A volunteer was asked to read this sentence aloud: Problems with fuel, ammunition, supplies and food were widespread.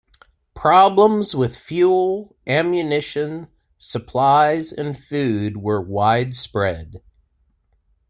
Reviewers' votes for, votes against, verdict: 2, 0, accepted